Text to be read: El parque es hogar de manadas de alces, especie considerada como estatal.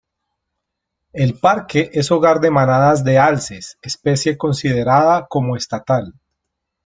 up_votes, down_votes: 2, 0